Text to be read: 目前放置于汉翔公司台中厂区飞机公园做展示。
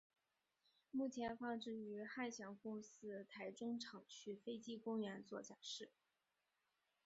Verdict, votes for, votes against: accepted, 2, 1